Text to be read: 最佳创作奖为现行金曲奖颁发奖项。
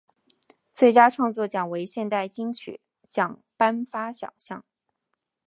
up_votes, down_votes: 2, 1